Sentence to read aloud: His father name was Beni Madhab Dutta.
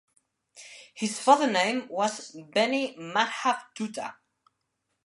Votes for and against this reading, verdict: 2, 1, accepted